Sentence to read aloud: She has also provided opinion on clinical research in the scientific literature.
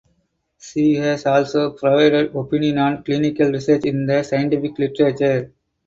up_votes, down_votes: 4, 2